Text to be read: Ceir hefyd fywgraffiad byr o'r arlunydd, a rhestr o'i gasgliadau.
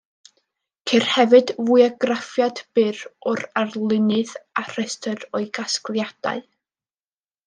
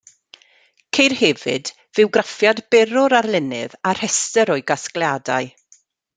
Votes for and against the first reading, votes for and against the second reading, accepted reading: 1, 2, 2, 0, second